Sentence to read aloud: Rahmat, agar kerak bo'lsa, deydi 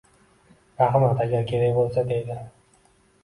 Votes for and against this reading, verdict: 1, 2, rejected